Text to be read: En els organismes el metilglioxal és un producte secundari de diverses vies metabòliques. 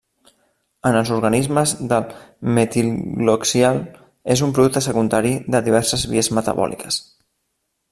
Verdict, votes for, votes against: rejected, 0, 2